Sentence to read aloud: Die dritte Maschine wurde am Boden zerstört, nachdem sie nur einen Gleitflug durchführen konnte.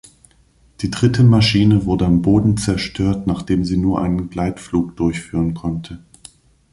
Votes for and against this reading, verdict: 3, 0, accepted